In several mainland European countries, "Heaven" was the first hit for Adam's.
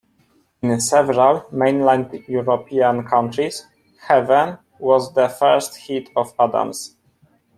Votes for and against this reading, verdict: 1, 2, rejected